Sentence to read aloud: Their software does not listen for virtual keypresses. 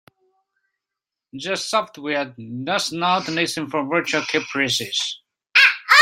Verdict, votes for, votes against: rejected, 0, 2